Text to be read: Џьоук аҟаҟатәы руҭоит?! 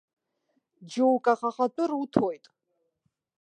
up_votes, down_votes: 2, 1